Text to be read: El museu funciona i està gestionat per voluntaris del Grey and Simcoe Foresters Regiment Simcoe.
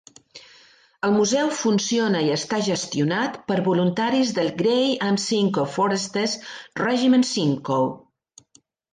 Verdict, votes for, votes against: accepted, 2, 0